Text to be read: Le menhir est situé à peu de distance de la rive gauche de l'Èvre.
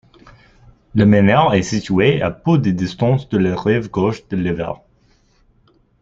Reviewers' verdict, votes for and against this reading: rejected, 1, 2